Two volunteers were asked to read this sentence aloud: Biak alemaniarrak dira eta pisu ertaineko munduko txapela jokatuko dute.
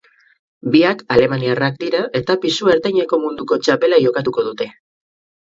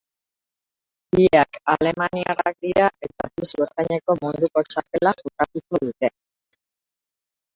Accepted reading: first